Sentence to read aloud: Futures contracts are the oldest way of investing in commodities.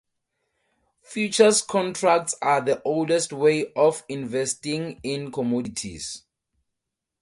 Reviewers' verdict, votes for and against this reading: accepted, 2, 0